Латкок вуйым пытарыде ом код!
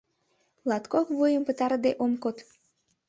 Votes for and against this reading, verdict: 2, 0, accepted